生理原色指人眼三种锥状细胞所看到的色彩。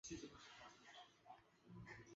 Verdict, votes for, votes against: rejected, 0, 2